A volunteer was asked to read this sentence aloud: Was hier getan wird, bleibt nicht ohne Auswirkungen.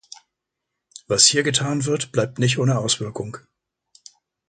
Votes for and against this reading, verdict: 0, 2, rejected